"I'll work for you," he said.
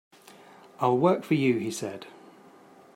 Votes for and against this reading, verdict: 5, 0, accepted